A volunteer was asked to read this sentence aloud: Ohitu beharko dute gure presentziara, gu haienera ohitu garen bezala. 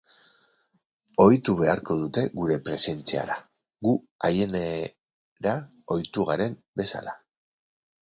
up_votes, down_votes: 0, 2